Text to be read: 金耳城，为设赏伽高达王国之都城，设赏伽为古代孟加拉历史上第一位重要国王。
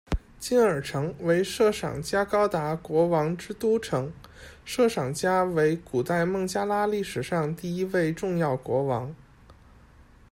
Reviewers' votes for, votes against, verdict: 2, 0, accepted